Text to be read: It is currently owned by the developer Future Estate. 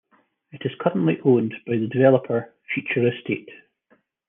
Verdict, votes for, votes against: accepted, 2, 1